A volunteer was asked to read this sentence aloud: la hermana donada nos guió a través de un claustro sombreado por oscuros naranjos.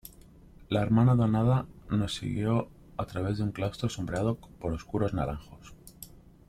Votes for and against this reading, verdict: 2, 0, accepted